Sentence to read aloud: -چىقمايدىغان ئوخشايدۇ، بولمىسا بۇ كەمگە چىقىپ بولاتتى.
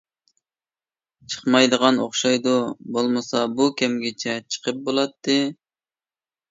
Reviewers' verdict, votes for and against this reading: rejected, 0, 2